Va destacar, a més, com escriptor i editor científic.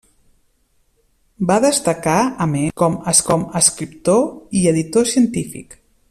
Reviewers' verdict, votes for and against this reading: rejected, 0, 2